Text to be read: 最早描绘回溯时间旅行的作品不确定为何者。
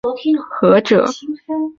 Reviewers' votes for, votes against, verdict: 2, 0, accepted